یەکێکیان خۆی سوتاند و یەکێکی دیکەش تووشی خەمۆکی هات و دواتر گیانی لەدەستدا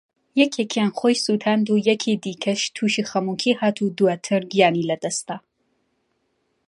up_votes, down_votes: 2, 0